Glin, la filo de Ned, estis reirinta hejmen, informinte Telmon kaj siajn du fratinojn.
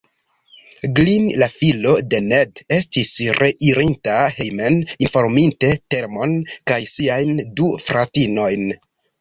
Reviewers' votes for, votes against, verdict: 1, 2, rejected